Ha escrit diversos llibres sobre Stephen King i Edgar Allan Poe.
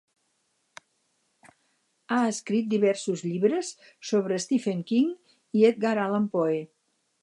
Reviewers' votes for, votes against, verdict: 4, 0, accepted